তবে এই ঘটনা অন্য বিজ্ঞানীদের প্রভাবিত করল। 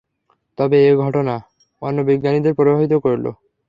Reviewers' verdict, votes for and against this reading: accepted, 3, 0